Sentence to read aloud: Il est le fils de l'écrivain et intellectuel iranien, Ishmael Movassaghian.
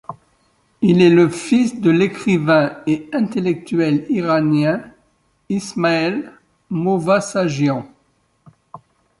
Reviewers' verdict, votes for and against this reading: rejected, 1, 2